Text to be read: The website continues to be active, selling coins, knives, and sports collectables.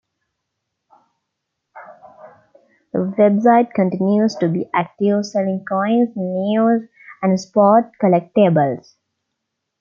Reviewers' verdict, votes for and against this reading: rejected, 0, 2